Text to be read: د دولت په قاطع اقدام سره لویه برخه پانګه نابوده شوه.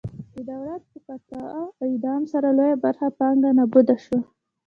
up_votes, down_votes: 2, 0